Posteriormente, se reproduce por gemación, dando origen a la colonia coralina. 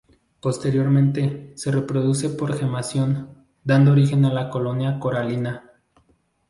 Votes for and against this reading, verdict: 4, 0, accepted